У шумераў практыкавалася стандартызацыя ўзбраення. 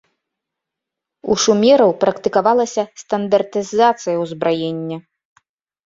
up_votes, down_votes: 2, 0